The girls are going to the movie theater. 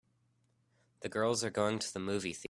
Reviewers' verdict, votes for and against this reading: rejected, 1, 3